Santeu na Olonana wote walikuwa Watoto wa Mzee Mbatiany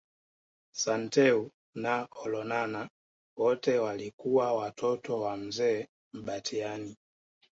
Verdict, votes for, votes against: accepted, 2, 1